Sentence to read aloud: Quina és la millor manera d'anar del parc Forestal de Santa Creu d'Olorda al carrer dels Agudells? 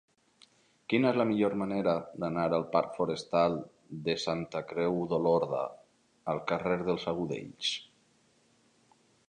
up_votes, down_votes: 0, 2